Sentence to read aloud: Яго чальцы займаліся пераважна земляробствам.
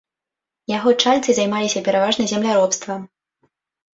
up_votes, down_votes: 0, 2